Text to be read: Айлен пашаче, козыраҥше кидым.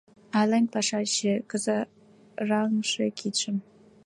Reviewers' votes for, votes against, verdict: 0, 2, rejected